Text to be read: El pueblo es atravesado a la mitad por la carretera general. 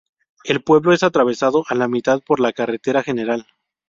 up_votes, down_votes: 0, 2